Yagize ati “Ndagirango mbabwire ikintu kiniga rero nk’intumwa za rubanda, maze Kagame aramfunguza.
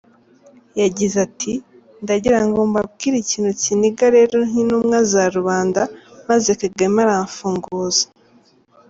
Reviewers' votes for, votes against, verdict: 2, 0, accepted